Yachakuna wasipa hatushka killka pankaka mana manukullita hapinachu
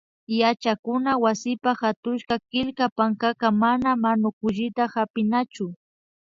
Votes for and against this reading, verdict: 2, 0, accepted